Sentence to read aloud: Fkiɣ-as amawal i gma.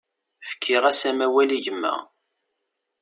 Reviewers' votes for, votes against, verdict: 2, 0, accepted